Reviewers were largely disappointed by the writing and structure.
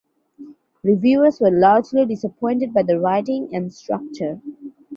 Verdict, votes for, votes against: accepted, 2, 0